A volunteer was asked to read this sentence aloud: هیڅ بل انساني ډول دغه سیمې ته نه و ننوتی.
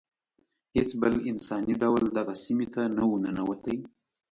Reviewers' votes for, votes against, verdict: 2, 0, accepted